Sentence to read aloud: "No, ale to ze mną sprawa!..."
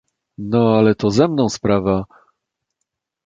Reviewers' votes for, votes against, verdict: 2, 0, accepted